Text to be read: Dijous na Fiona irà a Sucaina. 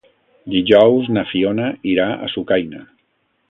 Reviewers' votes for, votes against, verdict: 2, 0, accepted